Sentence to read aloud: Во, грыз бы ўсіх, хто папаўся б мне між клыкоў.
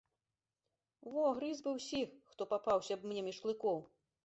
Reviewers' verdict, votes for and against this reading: accepted, 2, 0